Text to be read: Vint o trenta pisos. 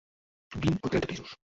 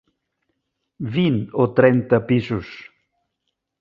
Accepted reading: second